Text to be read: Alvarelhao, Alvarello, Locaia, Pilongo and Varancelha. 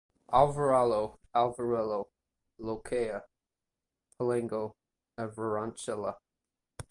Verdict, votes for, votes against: rejected, 2, 2